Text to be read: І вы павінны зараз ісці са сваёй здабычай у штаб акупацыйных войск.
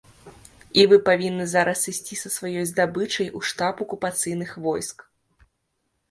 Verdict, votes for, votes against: accepted, 2, 0